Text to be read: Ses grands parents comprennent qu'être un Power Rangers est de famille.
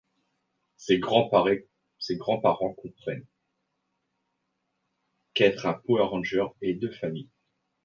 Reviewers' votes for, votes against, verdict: 1, 2, rejected